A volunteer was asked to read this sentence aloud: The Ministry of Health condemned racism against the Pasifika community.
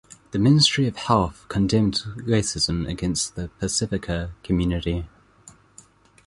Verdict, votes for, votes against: accepted, 2, 0